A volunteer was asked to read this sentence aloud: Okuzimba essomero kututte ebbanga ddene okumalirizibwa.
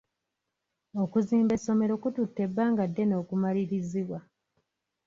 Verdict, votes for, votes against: accepted, 2, 0